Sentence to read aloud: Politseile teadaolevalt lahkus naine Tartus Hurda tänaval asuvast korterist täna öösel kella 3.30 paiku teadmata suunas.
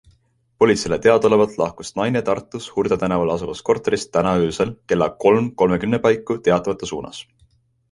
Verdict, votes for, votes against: rejected, 0, 2